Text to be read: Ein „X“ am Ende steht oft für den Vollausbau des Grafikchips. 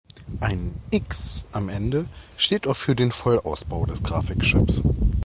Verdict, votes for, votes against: accepted, 2, 0